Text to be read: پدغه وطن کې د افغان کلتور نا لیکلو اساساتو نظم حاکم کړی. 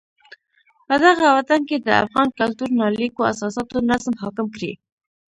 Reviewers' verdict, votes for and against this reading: rejected, 0, 2